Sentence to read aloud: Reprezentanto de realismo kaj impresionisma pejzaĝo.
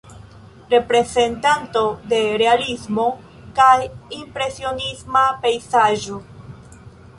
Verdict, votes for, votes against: accepted, 2, 1